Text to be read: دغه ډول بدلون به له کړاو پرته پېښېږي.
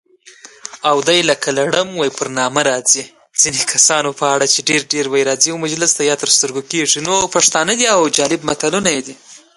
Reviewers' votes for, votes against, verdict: 1, 2, rejected